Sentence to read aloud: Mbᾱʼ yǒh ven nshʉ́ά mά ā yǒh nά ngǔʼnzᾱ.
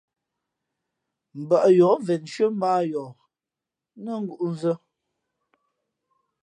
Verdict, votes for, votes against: accepted, 2, 0